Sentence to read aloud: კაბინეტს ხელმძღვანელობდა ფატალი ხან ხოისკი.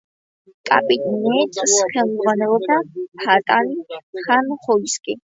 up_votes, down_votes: 2, 0